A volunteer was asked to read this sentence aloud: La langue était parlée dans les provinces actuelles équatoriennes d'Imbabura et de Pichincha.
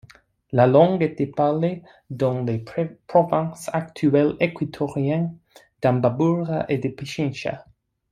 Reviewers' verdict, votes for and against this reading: accepted, 2, 1